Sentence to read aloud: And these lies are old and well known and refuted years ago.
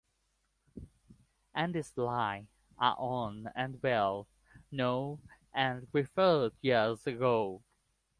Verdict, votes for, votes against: rejected, 1, 3